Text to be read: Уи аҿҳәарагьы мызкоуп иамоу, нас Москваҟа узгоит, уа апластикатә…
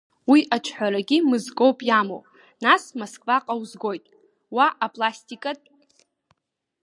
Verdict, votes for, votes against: accepted, 2, 0